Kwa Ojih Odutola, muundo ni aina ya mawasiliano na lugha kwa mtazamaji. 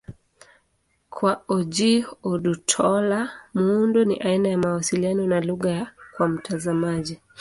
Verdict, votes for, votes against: rejected, 0, 2